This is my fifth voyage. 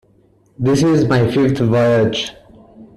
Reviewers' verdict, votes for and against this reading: rejected, 0, 2